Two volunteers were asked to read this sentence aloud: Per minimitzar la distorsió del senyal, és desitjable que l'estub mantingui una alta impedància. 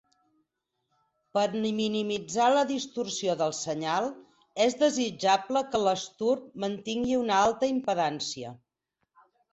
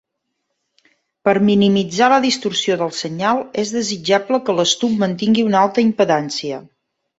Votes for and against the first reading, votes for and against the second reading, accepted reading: 2, 6, 3, 0, second